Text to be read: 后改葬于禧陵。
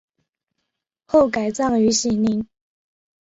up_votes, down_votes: 4, 0